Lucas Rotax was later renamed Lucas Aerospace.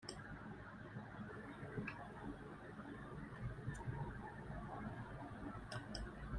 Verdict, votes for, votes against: rejected, 0, 3